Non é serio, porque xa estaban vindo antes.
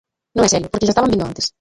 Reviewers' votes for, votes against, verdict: 0, 2, rejected